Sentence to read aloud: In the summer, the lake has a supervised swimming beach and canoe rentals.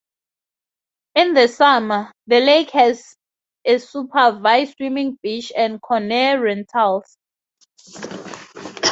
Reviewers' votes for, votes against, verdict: 2, 0, accepted